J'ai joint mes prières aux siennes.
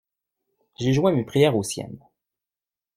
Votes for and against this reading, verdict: 2, 0, accepted